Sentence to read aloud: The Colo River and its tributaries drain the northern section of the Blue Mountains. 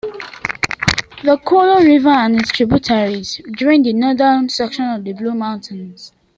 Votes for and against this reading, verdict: 1, 2, rejected